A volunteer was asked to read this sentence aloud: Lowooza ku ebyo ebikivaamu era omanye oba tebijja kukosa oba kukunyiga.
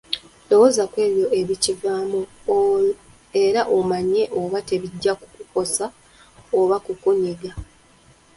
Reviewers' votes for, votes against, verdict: 2, 1, accepted